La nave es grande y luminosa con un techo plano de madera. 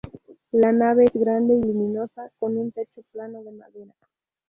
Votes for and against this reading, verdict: 0, 2, rejected